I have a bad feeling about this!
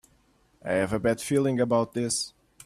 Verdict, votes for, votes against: accepted, 2, 0